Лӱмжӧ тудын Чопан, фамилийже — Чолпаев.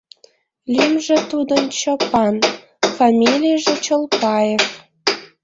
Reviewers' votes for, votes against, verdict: 1, 2, rejected